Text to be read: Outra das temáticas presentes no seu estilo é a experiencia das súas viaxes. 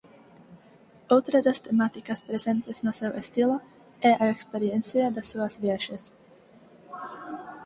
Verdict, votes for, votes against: rejected, 0, 4